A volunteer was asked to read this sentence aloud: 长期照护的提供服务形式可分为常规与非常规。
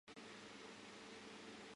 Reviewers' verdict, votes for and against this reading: rejected, 0, 4